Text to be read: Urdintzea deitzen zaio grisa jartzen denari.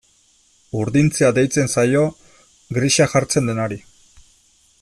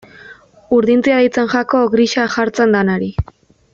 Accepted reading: first